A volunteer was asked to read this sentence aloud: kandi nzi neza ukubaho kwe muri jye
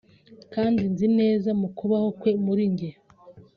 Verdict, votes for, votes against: rejected, 0, 2